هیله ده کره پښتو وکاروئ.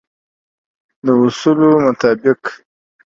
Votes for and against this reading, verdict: 0, 2, rejected